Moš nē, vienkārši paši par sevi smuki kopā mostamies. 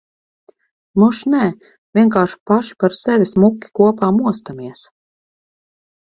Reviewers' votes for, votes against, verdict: 4, 0, accepted